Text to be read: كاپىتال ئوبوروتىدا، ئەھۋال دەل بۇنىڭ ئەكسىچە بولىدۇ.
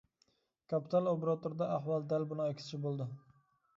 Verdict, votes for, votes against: accepted, 2, 1